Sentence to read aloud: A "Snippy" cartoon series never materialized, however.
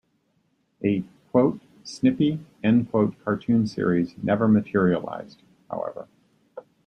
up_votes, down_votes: 0, 2